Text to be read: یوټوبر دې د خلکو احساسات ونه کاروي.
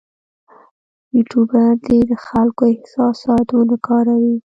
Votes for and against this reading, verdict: 2, 3, rejected